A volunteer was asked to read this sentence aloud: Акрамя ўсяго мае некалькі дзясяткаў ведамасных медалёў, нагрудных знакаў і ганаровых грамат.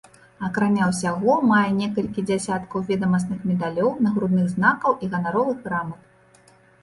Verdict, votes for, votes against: accepted, 2, 0